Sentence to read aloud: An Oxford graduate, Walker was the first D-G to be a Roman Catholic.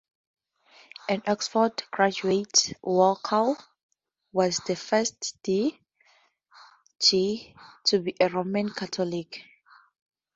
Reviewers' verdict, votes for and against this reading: rejected, 0, 2